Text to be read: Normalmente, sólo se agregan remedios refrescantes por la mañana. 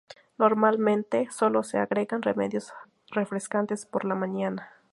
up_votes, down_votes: 2, 0